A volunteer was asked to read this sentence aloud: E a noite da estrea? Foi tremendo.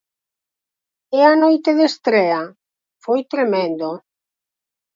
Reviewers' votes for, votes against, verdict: 0, 4, rejected